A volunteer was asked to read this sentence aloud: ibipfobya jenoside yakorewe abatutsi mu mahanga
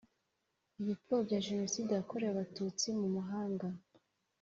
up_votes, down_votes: 1, 2